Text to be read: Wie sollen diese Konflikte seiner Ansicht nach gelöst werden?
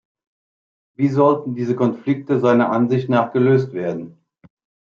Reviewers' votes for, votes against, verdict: 1, 2, rejected